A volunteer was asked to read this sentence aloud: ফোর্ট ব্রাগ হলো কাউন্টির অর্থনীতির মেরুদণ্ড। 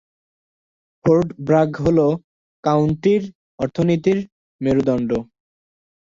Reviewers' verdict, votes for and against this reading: rejected, 3, 4